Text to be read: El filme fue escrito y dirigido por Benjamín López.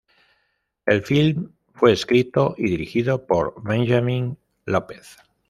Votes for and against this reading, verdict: 0, 2, rejected